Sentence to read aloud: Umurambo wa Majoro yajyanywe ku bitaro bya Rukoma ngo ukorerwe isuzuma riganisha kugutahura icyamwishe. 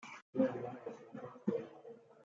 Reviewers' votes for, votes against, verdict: 0, 2, rejected